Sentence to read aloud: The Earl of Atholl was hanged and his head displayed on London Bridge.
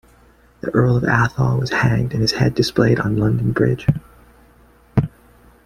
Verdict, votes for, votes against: accepted, 2, 0